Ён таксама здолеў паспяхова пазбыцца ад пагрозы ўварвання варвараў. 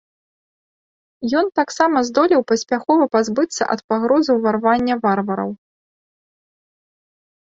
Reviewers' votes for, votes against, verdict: 2, 0, accepted